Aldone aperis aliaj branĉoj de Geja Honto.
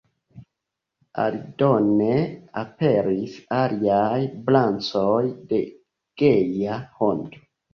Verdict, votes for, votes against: rejected, 1, 2